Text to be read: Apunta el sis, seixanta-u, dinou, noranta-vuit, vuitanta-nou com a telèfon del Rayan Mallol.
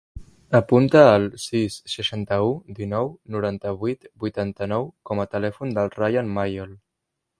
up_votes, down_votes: 0, 2